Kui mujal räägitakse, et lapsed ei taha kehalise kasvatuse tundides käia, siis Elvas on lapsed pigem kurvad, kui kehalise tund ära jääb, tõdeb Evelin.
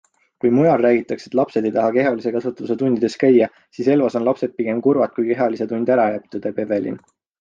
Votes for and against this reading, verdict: 2, 0, accepted